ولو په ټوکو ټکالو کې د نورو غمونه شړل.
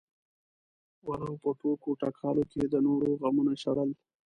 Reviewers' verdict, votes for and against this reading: rejected, 0, 2